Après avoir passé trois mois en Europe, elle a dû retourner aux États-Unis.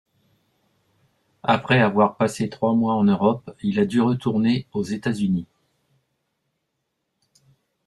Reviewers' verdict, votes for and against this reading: rejected, 1, 2